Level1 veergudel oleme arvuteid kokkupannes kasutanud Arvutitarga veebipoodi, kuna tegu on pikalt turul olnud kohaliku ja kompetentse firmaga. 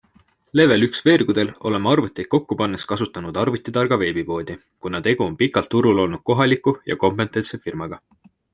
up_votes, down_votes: 0, 2